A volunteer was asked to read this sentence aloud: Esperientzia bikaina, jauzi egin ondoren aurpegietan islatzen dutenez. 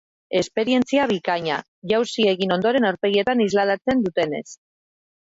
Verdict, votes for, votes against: rejected, 0, 2